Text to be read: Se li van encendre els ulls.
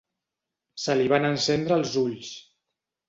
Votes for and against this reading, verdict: 3, 0, accepted